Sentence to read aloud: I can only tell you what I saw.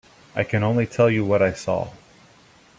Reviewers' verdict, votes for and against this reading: accepted, 3, 0